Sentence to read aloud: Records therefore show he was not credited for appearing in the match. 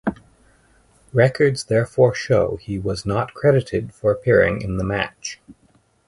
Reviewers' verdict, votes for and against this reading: accepted, 6, 0